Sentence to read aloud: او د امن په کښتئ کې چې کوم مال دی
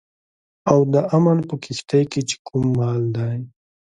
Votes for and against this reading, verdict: 2, 0, accepted